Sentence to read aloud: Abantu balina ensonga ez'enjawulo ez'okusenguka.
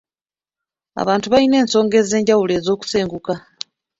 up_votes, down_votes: 2, 0